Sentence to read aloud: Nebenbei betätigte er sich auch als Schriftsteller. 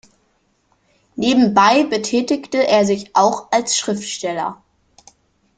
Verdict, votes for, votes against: accepted, 2, 0